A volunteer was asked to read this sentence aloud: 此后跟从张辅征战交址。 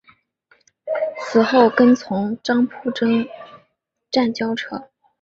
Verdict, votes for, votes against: rejected, 0, 2